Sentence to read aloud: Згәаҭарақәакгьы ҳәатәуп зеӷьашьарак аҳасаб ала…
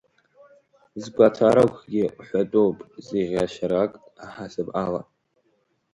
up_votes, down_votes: 1, 2